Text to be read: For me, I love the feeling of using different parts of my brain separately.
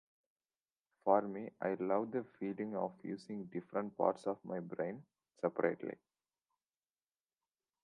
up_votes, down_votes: 2, 0